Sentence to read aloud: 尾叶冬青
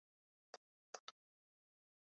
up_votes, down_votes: 0, 2